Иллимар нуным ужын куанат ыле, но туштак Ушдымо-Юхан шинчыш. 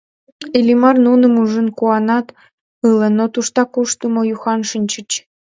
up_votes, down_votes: 0, 2